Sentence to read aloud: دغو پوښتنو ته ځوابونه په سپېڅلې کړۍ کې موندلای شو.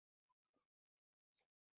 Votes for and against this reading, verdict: 0, 2, rejected